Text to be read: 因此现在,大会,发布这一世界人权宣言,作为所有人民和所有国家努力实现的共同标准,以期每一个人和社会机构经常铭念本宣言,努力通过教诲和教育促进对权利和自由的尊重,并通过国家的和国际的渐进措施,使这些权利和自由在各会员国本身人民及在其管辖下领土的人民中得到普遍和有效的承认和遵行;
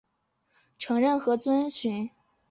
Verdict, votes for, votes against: rejected, 0, 4